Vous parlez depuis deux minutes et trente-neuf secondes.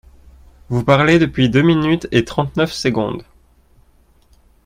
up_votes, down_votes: 2, 0